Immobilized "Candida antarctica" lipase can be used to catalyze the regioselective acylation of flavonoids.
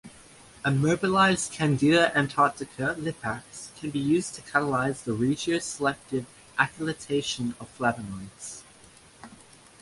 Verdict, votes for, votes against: accepted, 2, 0